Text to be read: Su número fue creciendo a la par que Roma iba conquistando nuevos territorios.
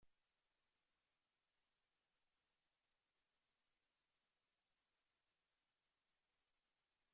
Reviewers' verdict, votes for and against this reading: rejected, 0, 2